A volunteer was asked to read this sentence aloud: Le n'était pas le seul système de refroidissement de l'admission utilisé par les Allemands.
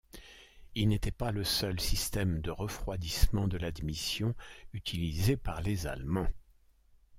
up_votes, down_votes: 1, 2